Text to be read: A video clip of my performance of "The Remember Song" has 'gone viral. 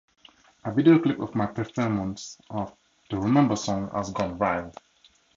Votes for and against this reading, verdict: 2, 0, accepted